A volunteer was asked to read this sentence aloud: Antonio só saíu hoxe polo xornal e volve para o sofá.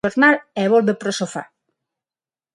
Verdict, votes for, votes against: rejected, 0, 6